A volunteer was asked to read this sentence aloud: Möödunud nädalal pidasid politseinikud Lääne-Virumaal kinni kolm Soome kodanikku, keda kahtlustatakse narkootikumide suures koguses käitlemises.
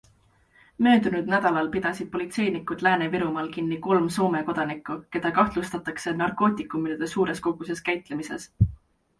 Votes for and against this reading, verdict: 2, 0, accepted